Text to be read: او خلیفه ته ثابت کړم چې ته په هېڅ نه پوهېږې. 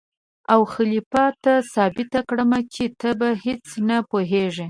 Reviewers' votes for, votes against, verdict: 2, 0, accepted